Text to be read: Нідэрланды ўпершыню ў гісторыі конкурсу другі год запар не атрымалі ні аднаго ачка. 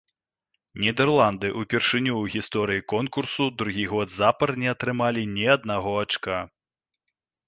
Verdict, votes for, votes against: accepted, 2, 1